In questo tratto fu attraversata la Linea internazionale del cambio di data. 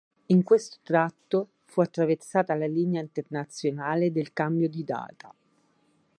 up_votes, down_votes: 4, 0